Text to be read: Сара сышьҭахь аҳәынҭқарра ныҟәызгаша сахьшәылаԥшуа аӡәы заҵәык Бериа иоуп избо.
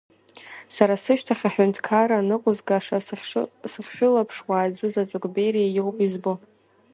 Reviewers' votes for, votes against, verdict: 0, 2, rejected